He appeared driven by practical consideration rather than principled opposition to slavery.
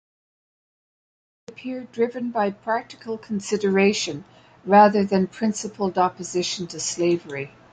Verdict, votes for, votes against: rejected, 0, 2